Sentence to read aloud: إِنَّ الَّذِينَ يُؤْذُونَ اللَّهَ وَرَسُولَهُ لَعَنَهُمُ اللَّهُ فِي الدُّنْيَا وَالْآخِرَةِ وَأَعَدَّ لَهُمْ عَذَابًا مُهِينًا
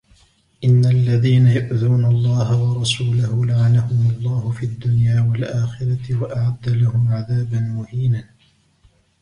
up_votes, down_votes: 1, 2